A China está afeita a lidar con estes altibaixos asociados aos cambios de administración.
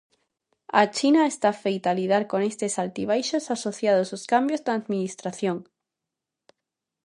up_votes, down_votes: 0, 2